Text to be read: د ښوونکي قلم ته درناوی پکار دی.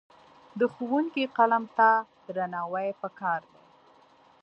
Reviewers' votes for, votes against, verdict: 2, 0, accepted